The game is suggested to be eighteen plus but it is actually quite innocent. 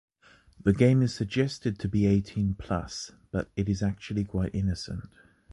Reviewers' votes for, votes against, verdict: 1, 2, rejected